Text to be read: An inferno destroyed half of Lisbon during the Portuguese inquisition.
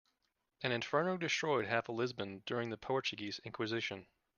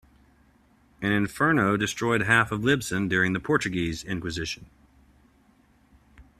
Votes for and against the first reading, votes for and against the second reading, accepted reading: 2, 0, 1, 2, first